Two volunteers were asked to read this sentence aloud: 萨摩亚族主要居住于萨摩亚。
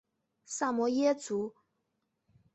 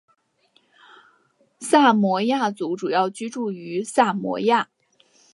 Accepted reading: second